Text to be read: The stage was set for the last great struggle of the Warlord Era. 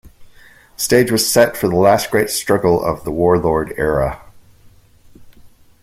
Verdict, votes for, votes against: accepted, 2, 0